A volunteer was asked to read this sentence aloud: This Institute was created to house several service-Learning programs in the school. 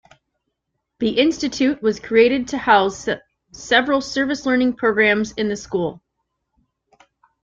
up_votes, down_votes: 0, 2